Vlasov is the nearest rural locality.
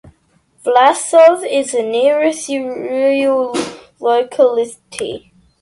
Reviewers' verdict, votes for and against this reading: rejected, 0, 2